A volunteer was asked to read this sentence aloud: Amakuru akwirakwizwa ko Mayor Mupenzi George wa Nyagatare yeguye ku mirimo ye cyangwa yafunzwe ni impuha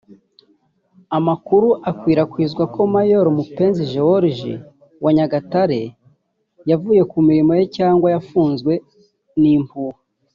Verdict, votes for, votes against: rejected, 0, 2